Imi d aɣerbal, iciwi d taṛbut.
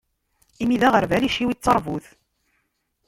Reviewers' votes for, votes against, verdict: 1, 2, rejected